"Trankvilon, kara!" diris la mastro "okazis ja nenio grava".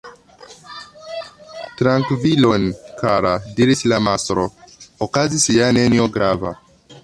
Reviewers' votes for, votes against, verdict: 0, 2, rejected